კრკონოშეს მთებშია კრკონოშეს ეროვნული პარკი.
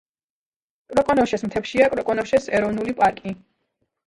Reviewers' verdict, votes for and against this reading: rejected, 0, 2